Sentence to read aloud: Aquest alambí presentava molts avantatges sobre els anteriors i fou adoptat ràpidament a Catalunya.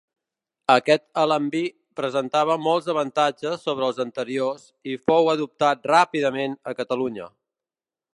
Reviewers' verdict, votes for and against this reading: accepted, 3, 0